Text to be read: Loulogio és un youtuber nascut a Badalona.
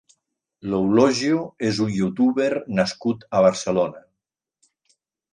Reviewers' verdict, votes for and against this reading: rejected, 1, 2